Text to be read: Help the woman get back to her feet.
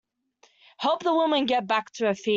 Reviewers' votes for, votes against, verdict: 0, 2, rejected